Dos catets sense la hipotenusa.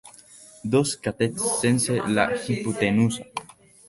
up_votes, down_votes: 3, 4